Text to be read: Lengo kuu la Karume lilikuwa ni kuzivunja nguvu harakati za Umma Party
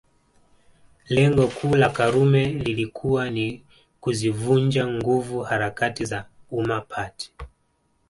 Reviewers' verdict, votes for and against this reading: accepted, 2, 0